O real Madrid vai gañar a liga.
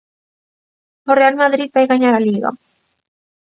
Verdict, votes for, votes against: accepted, 2, 0